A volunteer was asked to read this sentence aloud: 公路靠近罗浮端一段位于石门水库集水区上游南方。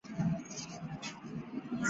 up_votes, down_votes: 0, 3